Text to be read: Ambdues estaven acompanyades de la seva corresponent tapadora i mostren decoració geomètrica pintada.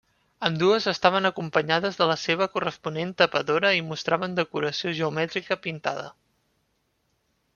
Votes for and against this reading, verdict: 0, 2, rejected